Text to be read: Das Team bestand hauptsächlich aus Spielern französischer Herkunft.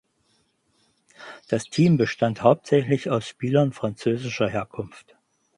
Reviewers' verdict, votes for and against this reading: accepted, 4, 0